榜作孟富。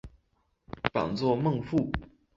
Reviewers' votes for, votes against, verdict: 2, 1, accepted